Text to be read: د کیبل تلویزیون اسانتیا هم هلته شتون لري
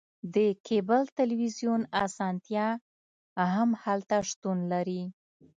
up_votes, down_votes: 2, 0